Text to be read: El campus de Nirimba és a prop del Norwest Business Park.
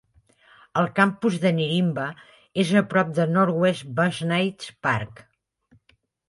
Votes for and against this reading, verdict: 1, 2, rejected